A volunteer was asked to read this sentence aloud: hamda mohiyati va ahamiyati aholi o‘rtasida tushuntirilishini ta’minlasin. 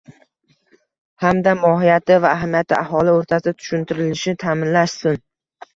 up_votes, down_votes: 1, 2